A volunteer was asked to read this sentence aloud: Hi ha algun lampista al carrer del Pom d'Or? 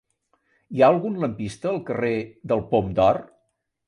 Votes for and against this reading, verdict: 2, 0, accepted